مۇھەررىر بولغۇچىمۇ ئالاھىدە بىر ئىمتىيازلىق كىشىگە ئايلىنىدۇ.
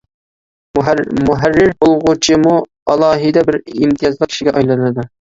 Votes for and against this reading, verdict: 0, 2, rejected